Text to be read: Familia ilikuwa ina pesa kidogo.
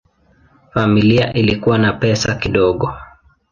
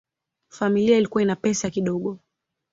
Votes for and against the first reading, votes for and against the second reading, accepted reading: 0, 2, 3, 0, second